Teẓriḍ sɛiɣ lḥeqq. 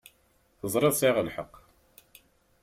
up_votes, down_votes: 4, 0